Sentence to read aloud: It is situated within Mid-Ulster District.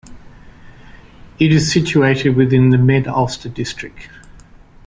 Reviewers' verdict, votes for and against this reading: rejected, 0, 2